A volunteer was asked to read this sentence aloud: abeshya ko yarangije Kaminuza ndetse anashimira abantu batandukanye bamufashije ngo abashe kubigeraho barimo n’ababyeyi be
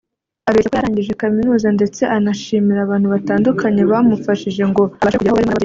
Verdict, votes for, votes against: rejected, 0, 2